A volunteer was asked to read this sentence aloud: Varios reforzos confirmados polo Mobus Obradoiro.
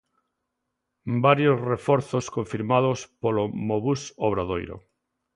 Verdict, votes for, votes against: accepted, 2, 0